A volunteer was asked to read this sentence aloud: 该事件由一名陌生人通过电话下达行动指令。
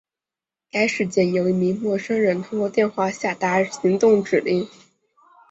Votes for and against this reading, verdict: 2, 0, accepted